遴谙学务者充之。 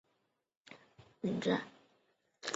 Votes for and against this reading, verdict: 2, 0, accepted